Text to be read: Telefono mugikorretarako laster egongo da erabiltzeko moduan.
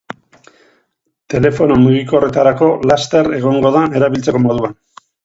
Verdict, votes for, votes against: accepted, 2, 0